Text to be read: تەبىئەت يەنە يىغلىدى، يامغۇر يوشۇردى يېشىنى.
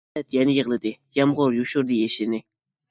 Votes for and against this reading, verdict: 0, 2, rejected